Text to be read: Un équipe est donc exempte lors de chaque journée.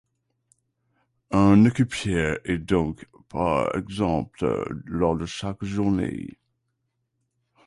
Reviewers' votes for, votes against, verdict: 0, 2, rejected